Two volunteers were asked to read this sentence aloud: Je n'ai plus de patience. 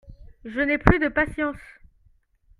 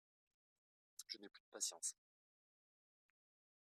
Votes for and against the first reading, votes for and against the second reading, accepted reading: 2, 0, 1, 2, first